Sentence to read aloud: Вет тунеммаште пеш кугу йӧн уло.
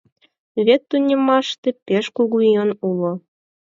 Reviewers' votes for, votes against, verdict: 4, 0, accepted